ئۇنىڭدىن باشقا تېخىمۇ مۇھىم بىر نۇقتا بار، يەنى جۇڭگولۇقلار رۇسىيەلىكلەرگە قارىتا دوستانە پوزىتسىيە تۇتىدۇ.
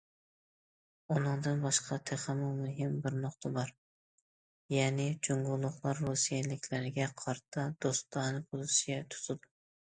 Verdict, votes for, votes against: accepted, 2, 0